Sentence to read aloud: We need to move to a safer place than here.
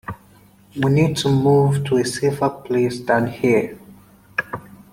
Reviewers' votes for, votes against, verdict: 2, 0, accepted